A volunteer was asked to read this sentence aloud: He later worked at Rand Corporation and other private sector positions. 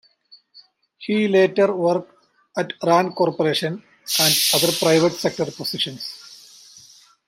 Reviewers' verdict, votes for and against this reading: rejected, 0, 2